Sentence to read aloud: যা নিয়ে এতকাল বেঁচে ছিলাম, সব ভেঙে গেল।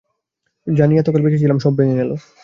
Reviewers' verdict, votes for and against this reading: accepted, 2, 0